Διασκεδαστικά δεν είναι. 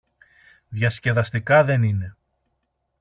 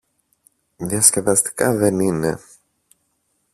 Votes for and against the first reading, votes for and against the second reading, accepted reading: 2, 0, 0, 2, first